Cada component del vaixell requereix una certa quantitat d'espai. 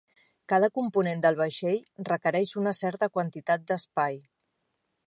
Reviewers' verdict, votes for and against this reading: rejected, 1, 2